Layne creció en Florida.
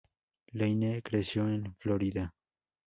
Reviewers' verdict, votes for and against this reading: rejected, 0, 2